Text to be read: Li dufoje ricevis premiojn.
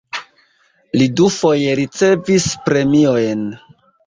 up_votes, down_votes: 2, 0